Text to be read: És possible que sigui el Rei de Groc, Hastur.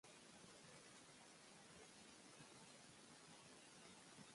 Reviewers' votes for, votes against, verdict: 0, 3, rejected